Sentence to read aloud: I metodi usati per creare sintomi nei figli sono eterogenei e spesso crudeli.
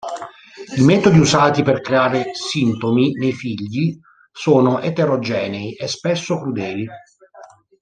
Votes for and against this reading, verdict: 1, 2, rejected